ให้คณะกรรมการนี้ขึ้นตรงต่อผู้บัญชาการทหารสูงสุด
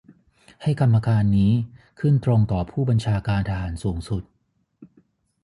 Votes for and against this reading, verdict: 0, 3, rejected